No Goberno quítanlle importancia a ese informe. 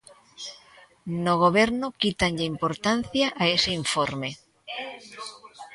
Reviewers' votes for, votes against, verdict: 2, 3, rejected